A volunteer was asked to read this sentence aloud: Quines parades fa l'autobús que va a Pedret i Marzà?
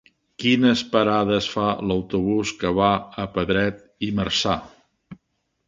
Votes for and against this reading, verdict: 1, 2, rejected